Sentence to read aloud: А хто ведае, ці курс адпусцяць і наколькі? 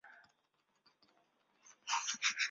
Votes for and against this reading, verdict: 0, 2, rejected